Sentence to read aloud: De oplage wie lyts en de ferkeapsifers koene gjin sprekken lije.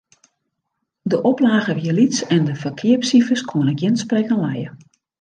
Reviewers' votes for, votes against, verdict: 2, 1, accepted